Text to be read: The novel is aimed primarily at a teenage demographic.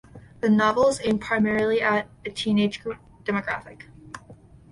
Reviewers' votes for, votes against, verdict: 1, 2, rejected